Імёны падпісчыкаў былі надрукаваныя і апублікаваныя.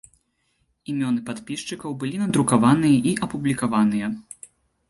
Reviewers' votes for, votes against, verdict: 2, 0, accepted